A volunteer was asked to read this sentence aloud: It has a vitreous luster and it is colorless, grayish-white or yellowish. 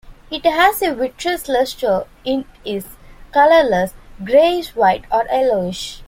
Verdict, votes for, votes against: rejected, 0, 2